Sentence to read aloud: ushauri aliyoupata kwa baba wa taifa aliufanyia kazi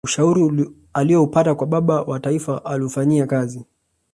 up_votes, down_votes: 1, 2